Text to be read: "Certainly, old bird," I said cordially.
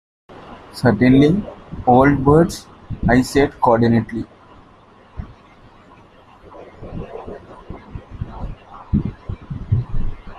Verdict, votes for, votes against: rejected, 0, 2